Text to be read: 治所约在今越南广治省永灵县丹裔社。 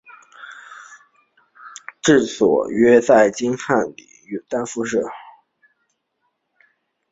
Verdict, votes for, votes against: rejected, 0, 2